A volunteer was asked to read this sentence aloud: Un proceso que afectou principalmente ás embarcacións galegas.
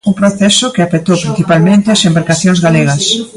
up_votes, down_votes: 1, 2